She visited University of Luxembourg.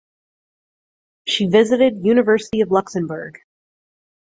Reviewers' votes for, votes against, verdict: 4, 0, accepted